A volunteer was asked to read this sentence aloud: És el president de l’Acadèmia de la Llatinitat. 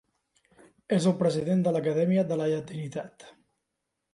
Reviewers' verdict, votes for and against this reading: accepted, 2, 0